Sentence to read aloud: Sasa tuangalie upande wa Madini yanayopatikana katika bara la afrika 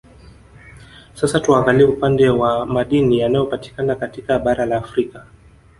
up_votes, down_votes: 2, 0